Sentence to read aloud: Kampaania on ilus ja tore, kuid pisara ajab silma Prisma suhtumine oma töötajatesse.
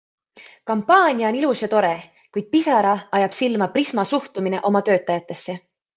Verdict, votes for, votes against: accepted, 2, 0